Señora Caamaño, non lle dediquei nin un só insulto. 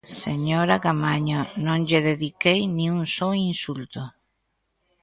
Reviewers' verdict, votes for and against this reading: accepted, 2, 0